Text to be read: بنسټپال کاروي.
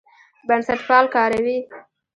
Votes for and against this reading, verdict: 1, 2, rejected